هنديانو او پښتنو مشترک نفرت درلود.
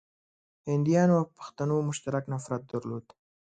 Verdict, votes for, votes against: accepted, 2, 0